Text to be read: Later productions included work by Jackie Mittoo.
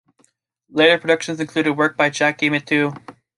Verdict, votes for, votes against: accepted, 2, 0